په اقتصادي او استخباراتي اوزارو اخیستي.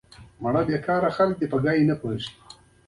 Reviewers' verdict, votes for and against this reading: accepted, 2, 1